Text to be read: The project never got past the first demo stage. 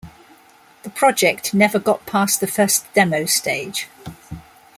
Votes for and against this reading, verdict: 2, 0, accepted